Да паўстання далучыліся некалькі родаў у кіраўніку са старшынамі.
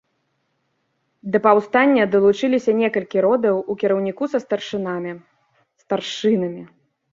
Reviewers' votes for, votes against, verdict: 0, 2, rejected